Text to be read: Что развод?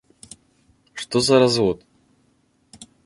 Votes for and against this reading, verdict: 0, 4, rejected